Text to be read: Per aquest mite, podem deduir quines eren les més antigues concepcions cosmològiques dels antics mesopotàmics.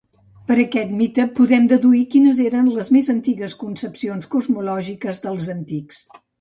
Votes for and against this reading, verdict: 0, 2, rejected